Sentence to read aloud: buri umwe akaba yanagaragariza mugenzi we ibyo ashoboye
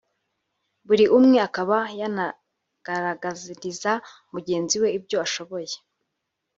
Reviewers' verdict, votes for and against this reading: accepted, 3, 0